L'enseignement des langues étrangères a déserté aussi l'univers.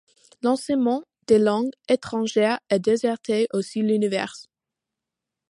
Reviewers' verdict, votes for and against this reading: accepted, 2, 1